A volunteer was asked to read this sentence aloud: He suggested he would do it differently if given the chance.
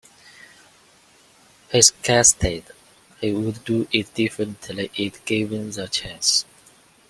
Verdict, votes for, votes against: rejected, 1, 2